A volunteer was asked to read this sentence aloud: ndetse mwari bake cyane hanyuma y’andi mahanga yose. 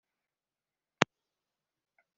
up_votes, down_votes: 0, 2